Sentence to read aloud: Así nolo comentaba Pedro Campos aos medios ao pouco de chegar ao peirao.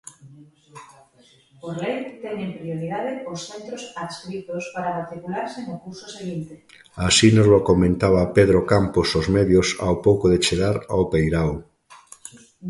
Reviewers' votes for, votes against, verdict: 0, 3, rejected